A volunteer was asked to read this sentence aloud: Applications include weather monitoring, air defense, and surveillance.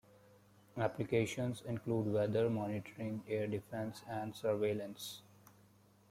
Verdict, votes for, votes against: rejected, 1, 2